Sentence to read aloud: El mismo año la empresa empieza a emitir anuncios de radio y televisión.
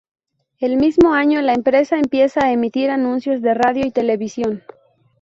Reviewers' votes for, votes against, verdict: 2, 0, accepted